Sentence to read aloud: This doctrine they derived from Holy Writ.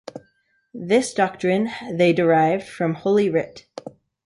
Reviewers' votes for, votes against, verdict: 2, 0, accepted